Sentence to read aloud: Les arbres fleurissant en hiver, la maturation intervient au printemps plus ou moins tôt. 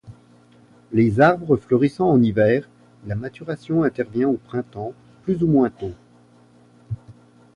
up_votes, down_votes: 2, 0